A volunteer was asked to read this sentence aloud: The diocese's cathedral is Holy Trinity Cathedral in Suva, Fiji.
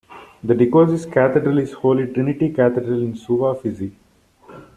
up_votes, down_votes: 0, 2